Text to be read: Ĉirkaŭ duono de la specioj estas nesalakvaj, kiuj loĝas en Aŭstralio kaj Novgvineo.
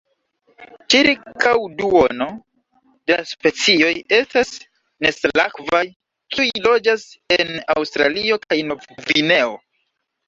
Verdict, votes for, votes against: accepted, 2, 1